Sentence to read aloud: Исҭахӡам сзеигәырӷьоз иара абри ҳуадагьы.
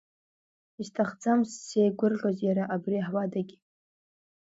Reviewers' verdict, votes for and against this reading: accepted, 2, 1